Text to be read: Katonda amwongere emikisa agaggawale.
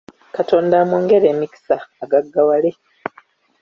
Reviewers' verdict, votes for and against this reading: accepted, 2, 0